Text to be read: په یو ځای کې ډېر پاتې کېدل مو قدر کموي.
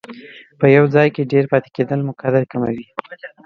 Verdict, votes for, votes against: accepted, 2, 0